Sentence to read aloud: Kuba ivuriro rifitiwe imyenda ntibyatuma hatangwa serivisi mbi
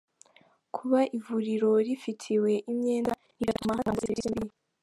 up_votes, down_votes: 1, 2